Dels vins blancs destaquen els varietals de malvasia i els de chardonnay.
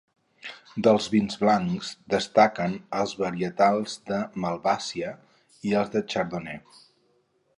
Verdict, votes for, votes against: rejected, 0, 4